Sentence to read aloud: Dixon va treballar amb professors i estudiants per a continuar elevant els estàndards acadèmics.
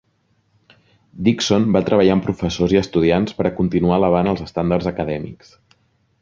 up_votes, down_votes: 3, 0